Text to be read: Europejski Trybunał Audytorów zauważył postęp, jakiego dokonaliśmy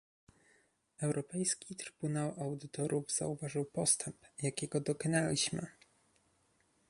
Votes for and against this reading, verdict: 2, 0, accepted